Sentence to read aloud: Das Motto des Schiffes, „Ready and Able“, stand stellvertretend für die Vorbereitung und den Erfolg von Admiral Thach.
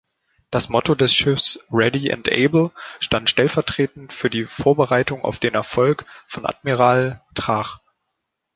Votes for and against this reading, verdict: 0, 3, rejected